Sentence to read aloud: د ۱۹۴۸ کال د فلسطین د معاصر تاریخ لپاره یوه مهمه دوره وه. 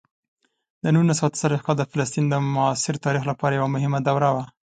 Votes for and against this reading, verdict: 0, 2, rejected